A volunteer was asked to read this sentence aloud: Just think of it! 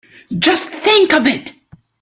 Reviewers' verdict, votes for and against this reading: accepted, 2, 1